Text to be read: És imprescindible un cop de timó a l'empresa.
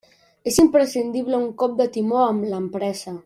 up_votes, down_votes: 0, 2